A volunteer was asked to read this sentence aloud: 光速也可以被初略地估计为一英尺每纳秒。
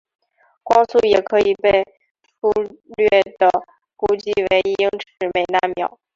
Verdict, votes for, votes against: rejected, 1, 3